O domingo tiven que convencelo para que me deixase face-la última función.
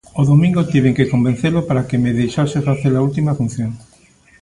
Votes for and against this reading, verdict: 2, 0, accepted